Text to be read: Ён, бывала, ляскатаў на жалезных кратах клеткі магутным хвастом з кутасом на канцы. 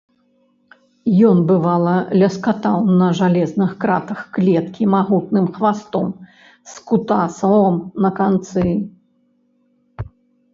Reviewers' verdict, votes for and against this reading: rejected, 1, 2